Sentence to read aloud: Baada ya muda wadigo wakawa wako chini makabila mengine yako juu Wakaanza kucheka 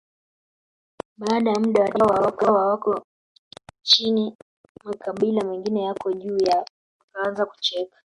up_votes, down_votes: 0, 5